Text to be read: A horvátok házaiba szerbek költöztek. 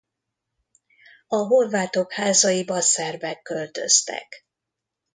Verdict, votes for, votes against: accepted, 2, 0